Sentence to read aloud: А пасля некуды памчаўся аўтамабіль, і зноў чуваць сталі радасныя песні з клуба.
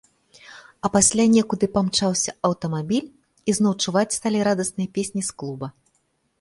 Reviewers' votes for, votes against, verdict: 2, 0, accepted